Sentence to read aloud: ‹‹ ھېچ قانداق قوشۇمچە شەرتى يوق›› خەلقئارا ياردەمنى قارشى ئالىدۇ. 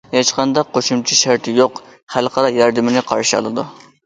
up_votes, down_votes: 0, 2